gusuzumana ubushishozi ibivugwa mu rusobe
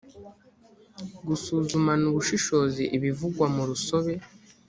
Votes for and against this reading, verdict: 2, 0, accepted